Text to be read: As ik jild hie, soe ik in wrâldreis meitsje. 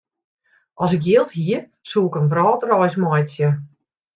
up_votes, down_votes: 2, 0